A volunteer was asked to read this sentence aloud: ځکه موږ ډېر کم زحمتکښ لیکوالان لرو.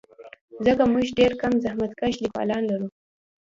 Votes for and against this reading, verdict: 1, 2, rejected